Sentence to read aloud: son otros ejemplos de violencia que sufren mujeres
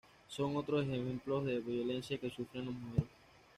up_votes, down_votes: 1, 2